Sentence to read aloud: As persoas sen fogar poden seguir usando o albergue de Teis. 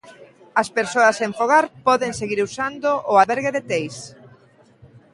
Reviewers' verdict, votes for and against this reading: accepted, 2, 1